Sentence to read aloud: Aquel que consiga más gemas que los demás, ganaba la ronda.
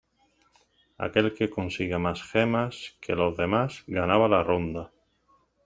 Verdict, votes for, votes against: accepted, 2, 0